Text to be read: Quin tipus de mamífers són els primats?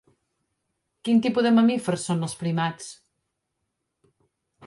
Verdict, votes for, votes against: rejected, 1, 3